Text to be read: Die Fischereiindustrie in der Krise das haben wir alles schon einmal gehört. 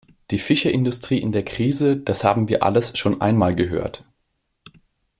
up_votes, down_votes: 0, 2